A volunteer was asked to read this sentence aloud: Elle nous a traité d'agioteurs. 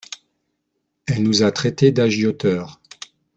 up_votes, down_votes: 2, 0